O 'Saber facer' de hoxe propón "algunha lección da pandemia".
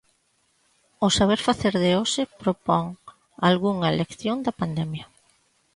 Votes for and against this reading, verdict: 2, 0, accepted